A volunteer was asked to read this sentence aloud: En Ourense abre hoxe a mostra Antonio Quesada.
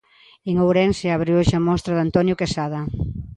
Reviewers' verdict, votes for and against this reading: accepted, 2, 1